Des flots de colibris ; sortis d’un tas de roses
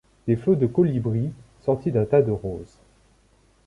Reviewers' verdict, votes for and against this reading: accepted, 2, 0